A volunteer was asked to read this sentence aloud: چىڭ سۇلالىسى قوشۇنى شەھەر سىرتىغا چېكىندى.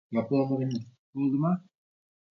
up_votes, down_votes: 0, 2